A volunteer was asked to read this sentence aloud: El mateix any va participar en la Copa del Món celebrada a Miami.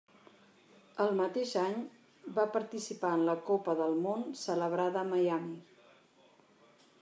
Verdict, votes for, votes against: accepted, 3, 1